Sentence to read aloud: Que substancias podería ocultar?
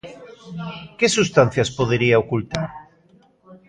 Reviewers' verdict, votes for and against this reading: accepted, 2, 1